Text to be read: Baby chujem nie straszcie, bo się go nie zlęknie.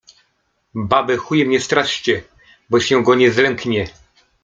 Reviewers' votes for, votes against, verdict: 2, 0, accepted